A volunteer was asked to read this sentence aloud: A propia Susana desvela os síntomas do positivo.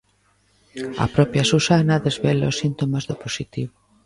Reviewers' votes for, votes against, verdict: 2, 1, accepted